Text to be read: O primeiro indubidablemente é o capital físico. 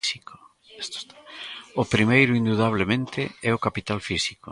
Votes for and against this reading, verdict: 1, 2, rejected